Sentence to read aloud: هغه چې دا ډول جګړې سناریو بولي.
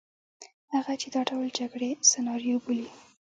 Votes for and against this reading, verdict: 2, 0, accepted